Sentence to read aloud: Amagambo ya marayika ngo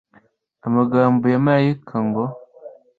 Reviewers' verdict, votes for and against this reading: accepted, 2, 0